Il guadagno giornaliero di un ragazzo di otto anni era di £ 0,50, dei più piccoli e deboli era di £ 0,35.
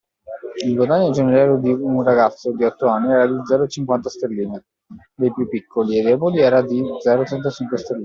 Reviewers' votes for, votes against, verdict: 0, 2, rejected